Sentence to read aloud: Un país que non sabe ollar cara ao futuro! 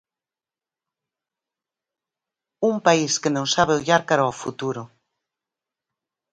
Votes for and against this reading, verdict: 4, 0, accepted